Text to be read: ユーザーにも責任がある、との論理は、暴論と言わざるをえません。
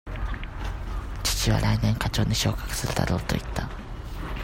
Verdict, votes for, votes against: rejected, 0, 2